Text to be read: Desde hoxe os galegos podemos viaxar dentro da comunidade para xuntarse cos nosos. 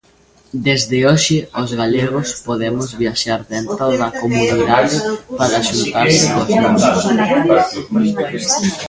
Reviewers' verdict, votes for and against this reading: rejected, 0, 3